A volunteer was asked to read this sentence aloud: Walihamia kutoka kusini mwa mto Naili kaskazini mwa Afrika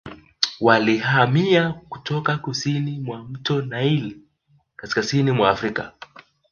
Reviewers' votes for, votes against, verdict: 2, 0, accepted